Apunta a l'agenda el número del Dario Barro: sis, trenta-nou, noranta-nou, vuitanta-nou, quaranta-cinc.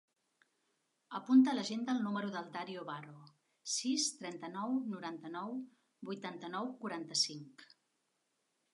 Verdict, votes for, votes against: accepted, 3, 0